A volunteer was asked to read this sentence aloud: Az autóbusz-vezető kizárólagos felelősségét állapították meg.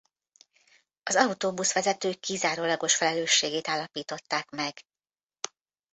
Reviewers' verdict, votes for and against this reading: accepted, 2, 0